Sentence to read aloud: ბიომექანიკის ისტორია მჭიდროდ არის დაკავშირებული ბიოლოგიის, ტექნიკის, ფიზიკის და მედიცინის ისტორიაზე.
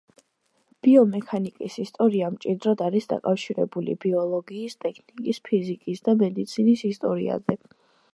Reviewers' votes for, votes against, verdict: 2, 0, accepted